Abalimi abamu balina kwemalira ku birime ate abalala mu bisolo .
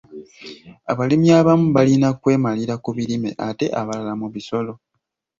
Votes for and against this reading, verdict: 2, 0, accepted